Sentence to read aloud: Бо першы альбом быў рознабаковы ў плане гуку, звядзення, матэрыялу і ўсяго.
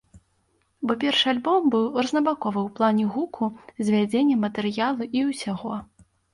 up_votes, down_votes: 2, 0